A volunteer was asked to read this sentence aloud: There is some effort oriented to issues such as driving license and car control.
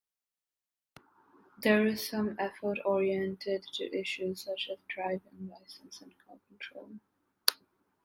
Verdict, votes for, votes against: rejected, 0, 2